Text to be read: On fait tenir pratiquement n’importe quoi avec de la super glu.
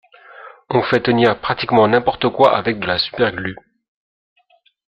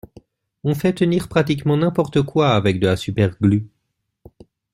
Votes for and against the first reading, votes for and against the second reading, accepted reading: 2, 0, 1, 2, first